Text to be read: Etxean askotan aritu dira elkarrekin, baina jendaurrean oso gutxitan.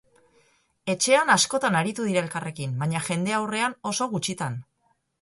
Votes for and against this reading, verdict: 4, 0, accepted